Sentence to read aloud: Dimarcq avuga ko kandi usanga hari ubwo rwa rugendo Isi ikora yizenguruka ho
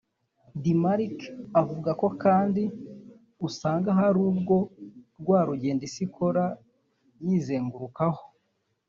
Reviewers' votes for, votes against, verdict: 0, 2, rejected